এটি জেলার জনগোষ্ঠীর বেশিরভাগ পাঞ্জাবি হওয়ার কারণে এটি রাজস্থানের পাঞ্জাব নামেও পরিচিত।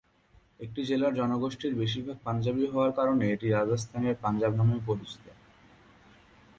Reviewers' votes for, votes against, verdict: 0, 2, rejected